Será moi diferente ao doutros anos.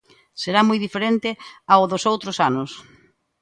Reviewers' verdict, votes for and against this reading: rejected, 1, 2